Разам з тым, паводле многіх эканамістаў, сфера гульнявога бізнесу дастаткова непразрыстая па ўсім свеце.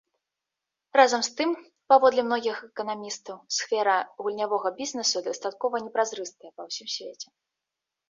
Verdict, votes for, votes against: accepted, 2, 0